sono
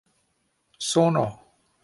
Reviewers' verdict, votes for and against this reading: accepted, 2, 1